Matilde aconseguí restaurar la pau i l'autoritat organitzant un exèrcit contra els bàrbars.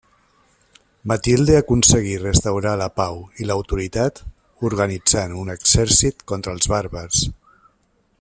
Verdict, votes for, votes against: accepted, 2, 0